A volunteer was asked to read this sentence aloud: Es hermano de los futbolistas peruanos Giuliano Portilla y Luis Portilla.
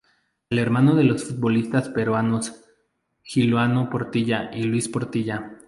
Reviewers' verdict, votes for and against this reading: rejected, 0, 2